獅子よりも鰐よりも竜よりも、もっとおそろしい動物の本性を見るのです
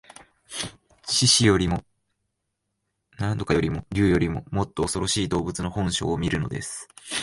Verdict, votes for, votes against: rejected, 0, 2